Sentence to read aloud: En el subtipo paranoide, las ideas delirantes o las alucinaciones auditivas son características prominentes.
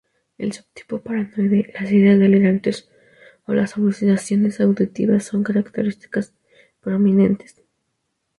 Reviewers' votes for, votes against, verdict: 0, 4, rejected